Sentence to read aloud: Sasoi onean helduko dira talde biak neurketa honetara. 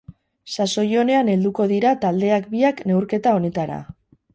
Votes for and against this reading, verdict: 2, 4, rejected